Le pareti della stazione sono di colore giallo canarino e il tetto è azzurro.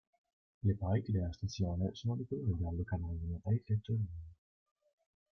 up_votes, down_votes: 0, 2